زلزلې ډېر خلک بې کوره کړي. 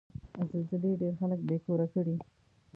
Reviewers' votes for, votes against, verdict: 0, 2, rejected